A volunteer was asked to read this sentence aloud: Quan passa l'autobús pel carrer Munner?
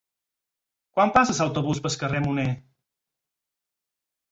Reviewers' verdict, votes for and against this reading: rejected, 2, 4